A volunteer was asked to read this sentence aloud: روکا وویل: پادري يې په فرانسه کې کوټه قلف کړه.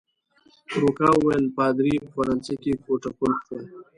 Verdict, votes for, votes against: accepted, 2, 0